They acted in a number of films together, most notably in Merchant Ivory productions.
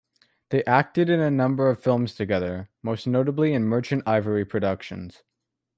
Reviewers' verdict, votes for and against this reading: accepted, 2, 0